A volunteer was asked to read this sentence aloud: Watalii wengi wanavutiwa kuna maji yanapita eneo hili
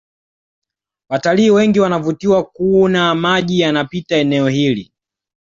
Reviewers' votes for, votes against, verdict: 2, 0, accepted